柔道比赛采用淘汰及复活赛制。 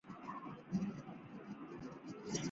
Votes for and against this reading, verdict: 0, 2, rejected